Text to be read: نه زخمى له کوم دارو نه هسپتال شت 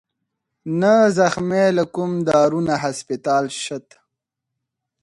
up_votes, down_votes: 4, 0